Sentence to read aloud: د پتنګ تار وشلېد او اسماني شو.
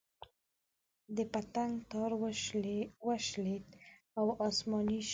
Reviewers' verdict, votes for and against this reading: accepted, 2, 0